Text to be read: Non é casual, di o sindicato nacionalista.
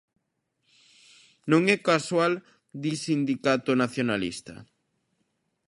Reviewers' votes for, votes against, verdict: 0, 2, rejected